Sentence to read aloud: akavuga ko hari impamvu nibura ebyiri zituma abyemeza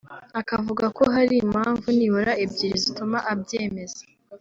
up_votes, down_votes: 2, 0